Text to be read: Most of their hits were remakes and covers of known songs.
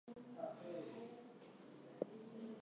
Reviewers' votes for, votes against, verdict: 0, 2, rejected